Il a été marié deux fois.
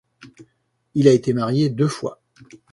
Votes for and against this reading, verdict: 2, 0, accepted